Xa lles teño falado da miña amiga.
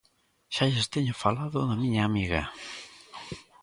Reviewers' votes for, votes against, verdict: 2, 0, accepted